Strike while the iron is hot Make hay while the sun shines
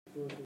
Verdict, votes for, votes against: rejected, 0, 2